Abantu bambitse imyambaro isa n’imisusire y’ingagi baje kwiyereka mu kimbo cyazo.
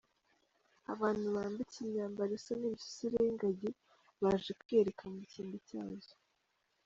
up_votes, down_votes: 2, 0